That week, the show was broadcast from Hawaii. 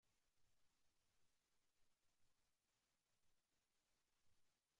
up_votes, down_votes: 0, 2